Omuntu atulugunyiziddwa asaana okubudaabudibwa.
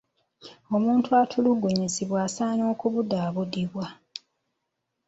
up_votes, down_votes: 0, 2